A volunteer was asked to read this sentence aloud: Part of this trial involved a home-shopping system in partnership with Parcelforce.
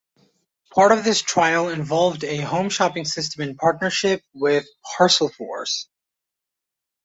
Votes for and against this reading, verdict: 2, 1, accepted